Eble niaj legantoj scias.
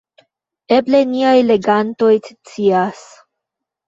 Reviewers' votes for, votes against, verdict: 1, 2, rejected